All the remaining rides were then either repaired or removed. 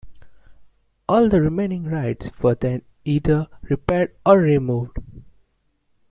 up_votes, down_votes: 2, 0